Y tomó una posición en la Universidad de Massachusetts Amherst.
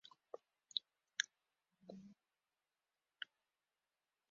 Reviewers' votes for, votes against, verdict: 0, 2, rejected